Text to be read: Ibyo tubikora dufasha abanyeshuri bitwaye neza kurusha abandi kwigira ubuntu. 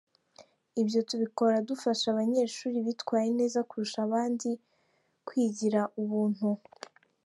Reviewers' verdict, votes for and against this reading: accepted, 3, 1